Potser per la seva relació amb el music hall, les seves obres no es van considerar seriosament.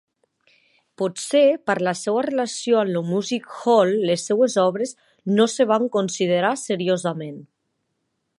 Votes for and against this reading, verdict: 2, 1, accepted